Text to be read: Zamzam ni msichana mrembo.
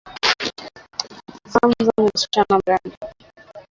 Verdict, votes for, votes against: rejected, 2, 2